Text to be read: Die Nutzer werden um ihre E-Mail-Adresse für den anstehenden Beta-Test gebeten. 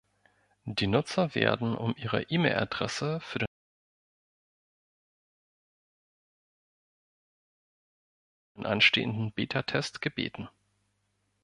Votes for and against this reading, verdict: 1, 2, rejected